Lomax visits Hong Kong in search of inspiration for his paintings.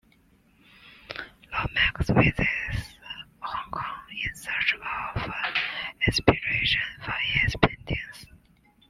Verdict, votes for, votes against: accepted, 2, 0